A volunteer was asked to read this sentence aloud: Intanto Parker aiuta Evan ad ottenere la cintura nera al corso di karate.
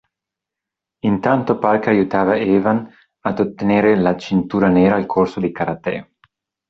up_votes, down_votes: 0, 2